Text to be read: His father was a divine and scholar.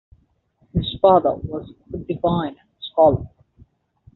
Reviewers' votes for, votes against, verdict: 0, 2, rejected